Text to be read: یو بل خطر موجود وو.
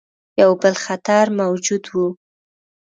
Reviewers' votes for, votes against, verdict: 1, 2, rejected